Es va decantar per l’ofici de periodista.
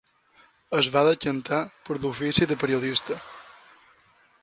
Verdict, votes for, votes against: rejected, 1, 2